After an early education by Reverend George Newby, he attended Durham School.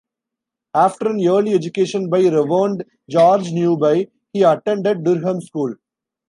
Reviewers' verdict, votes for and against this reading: rejected, 1, 2